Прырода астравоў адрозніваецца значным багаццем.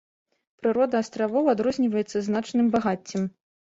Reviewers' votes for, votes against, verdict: 3, 0, accepted